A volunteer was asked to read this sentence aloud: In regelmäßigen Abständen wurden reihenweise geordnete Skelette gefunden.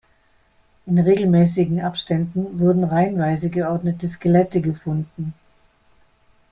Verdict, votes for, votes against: accepted, 2, 0